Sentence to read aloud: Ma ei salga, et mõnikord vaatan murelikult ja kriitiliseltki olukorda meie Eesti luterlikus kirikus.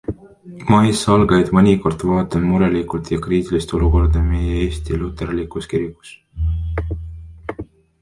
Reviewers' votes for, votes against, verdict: 0, 2, rejected